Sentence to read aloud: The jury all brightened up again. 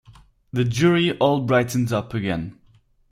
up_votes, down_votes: 4, 0